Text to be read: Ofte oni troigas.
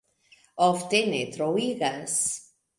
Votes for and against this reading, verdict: 1, 2, rejected